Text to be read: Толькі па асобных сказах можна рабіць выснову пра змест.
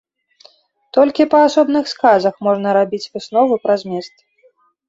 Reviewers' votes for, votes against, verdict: 2, 0, accepted